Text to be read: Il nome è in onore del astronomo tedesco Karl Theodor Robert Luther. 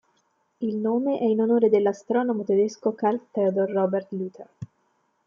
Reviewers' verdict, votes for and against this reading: accepted, 2, 1